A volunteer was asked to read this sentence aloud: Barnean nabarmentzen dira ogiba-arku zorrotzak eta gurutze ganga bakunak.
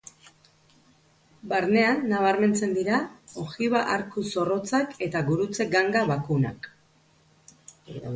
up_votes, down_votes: 4, 0